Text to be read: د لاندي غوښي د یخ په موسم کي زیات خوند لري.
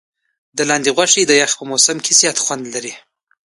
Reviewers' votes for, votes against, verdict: 2, 1, accepted